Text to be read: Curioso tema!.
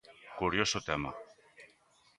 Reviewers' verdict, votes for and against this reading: accepted, 2, 0